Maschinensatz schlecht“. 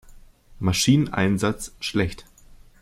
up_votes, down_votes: 0, 2